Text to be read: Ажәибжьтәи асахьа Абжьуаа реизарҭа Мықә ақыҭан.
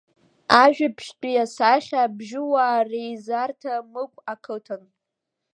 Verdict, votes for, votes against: accepted, 2, 0